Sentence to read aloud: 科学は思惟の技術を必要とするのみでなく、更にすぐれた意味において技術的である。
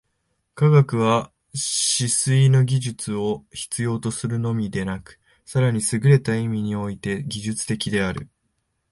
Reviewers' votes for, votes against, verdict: 0, 2, rejected